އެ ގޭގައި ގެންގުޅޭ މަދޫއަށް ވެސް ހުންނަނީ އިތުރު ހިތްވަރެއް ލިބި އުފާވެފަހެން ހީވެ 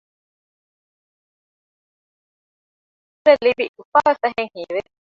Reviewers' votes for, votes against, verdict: 0, 2, rejected